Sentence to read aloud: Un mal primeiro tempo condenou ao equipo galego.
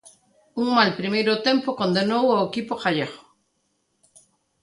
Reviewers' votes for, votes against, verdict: 2, 1, accepted